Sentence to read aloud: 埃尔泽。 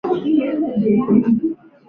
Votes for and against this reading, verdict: 0, 2, rejected